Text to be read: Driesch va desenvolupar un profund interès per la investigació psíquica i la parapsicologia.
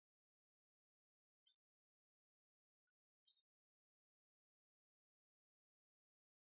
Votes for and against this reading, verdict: 0, 2, rejected